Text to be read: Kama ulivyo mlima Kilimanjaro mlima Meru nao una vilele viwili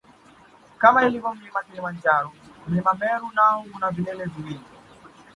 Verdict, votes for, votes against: accepted, 2, 1